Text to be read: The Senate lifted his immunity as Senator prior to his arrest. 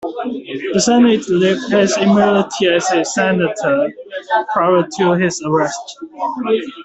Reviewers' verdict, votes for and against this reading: rejected, 0, 2